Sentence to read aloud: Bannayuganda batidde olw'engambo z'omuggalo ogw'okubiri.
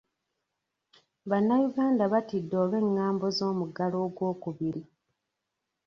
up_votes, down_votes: 1, 2